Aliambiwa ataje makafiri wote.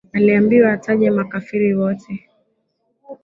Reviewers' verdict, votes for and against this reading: rejected, 0, 2